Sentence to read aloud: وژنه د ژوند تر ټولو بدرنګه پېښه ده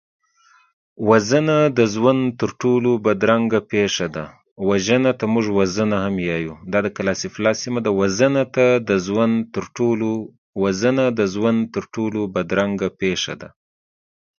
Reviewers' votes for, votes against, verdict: 0, 2, rejected